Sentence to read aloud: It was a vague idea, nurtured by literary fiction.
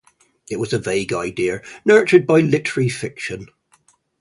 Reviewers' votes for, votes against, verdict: 0, 2, rejected